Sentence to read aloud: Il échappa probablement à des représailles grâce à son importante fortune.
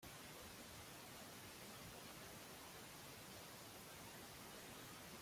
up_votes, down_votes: 1, 2